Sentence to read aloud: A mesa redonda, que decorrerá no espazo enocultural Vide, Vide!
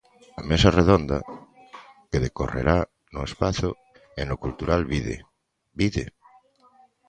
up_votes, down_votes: 2, 1